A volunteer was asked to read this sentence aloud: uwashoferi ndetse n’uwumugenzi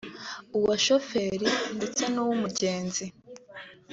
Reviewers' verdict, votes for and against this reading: accepted, 3, 0